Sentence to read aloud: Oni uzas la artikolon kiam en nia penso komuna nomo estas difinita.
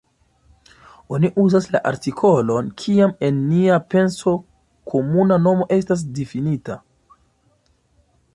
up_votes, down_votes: 2, 1